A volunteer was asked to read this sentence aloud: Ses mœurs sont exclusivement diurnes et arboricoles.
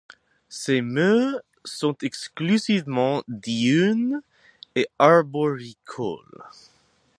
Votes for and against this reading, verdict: 2, 2, rejected